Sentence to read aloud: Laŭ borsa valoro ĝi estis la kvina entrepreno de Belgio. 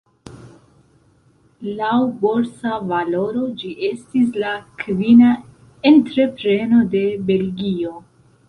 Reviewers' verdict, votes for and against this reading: accepted, 2, 0